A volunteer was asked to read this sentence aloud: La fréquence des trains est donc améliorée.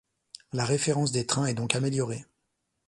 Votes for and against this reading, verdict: 1, 2, rejected